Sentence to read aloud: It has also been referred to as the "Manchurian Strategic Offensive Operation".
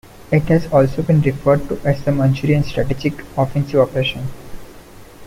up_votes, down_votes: 1, 2